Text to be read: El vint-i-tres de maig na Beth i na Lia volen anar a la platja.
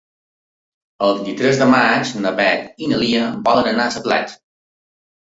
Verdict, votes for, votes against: rejected, 0, 2